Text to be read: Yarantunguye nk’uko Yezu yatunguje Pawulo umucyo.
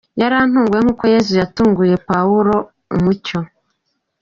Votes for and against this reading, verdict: 2, 3, rejected